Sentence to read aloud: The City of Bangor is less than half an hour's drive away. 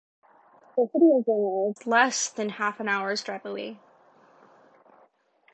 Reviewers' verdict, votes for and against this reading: accepted, 2, 0